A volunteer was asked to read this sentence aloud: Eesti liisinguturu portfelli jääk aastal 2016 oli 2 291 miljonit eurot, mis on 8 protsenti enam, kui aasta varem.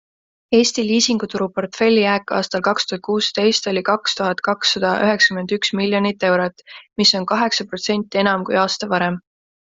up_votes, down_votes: 0, 2